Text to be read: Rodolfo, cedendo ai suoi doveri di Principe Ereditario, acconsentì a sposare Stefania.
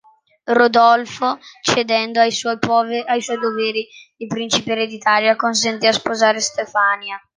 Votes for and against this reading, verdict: 0, 2, rejected